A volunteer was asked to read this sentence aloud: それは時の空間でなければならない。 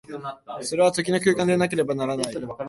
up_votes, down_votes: 2, 3